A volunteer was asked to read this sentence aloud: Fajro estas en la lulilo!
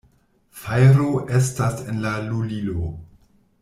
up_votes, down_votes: 2, 0